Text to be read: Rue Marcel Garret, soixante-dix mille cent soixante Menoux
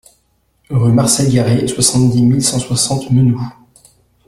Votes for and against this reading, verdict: 2, 0, accepted